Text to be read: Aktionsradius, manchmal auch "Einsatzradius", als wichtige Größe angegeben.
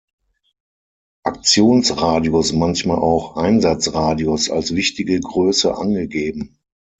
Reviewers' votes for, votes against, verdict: 6, 0, accepted